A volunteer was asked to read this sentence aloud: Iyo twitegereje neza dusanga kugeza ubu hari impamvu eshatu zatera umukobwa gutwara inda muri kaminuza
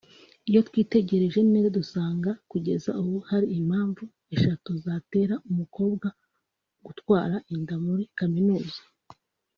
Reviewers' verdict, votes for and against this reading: accepted, 4, 0